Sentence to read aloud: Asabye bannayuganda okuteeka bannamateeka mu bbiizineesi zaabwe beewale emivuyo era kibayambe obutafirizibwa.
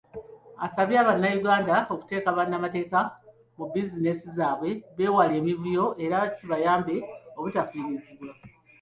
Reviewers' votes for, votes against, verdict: 0, 2, rejected